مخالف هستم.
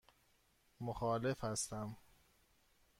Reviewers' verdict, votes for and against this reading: accepted, 2, 0